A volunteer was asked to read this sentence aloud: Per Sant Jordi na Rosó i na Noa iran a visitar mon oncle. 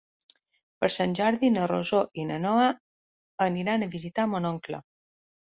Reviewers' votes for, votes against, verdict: 0, 2, rejected